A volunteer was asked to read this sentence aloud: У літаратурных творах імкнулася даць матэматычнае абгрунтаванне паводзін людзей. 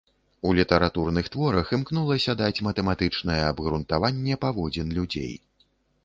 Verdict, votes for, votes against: accepted, 2, 0